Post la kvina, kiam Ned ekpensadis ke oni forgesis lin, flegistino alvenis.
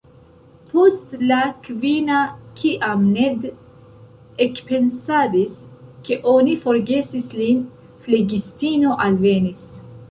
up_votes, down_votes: 0, 2